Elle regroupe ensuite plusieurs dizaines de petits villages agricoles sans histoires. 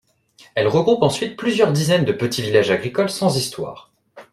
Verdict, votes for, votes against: accepted, 2, 0